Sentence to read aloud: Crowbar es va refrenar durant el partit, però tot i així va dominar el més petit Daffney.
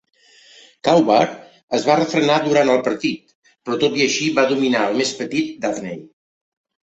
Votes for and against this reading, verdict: 2, 1, accepted